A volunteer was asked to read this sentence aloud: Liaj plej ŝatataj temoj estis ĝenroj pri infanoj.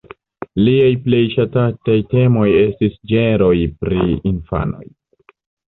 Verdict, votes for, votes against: rejected, 1, 2